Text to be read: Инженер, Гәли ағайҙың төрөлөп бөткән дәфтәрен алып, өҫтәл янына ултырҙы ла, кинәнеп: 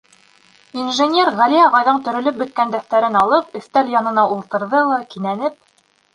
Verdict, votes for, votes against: rejected, 1, 2